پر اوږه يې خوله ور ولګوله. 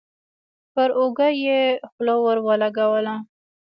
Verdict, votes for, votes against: accepted, 2, 0